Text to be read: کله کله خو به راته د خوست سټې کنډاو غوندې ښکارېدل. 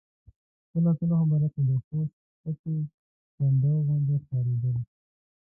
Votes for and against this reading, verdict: 2, 0, accepted